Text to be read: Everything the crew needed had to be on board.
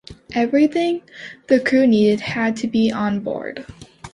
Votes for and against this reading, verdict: 2, 0, accepted